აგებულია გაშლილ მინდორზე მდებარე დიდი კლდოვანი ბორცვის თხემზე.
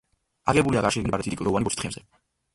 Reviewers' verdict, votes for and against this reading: rejected, 0, 2